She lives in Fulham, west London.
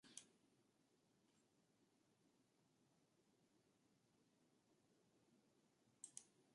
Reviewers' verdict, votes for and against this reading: rejected, 0, 2